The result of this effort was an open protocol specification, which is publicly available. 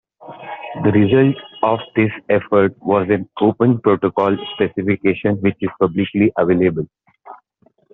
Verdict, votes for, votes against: accepted, 2, 1